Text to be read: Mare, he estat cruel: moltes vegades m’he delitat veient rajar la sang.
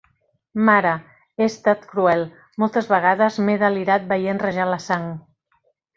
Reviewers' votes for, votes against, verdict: 1, 2, rejected